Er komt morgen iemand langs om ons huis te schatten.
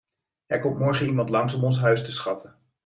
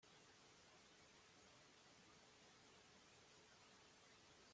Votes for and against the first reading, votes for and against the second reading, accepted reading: 2, 0, 0, 2, first